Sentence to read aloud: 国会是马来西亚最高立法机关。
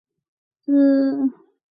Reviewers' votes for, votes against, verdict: 0, 2, rejected